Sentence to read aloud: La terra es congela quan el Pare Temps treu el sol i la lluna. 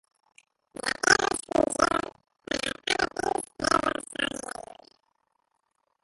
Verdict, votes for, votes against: rejected, 0, 3